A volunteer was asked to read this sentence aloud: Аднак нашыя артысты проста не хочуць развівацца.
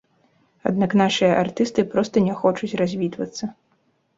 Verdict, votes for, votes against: rejected, 1, 2